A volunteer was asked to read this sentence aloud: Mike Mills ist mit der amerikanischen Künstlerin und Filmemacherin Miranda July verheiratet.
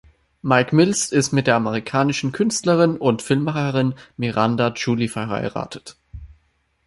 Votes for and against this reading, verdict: 1, 2, rejected